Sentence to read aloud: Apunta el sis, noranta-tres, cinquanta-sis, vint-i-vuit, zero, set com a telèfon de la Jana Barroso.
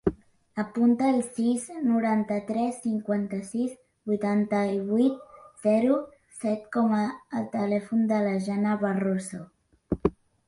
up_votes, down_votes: 0, 2